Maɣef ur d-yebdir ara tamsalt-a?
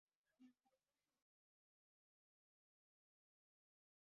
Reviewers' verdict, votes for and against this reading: rejected, 0, 2